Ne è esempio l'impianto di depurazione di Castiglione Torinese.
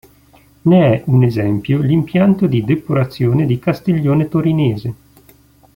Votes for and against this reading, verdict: 1, 2, rejected